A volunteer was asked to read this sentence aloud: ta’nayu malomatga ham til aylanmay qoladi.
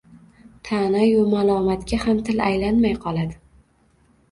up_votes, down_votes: 2, 1